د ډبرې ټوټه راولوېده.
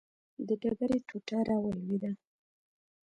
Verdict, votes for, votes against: accepted, 2, 0